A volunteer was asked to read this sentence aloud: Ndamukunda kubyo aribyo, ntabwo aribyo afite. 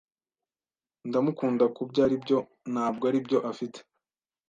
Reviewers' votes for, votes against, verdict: 2, 0, accepted